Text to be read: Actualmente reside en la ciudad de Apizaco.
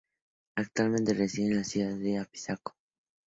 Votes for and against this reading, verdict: 2, 0, accepted